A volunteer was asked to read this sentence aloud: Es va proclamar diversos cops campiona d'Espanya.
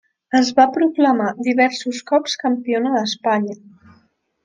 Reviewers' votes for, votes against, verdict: 3, 0, accepted